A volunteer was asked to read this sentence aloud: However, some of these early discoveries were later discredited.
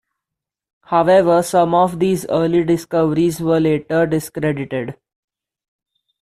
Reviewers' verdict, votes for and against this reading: rejected, 1, 2